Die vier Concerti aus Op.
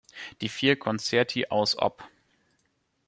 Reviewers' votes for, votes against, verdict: 2, 0, accepted